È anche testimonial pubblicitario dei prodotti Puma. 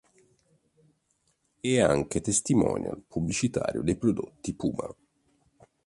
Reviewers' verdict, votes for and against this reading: accepted, 2, 0